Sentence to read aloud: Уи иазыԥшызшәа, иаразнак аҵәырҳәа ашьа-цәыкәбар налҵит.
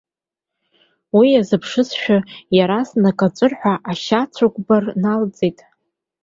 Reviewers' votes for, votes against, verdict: 1, 2, rejected